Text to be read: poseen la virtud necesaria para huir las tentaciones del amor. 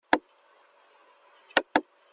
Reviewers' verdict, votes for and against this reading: rejected, 0, 2